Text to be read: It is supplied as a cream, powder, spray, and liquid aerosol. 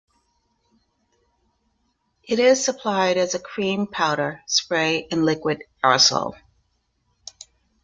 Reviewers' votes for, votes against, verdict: 1, 2, rejected